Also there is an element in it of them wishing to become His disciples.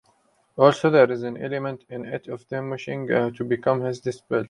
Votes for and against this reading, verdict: 0, 2, rejected